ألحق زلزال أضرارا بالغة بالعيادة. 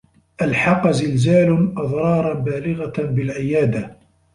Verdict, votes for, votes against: accepted, 2, 0